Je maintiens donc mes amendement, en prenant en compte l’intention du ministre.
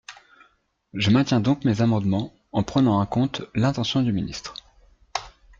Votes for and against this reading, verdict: 2, 0, accepted